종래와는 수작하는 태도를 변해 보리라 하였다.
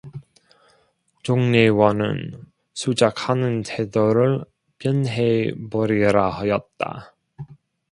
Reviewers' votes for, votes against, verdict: 2, 0, accepted